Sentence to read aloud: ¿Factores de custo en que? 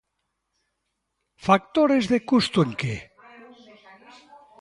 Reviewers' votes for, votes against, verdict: 1, 2, rejected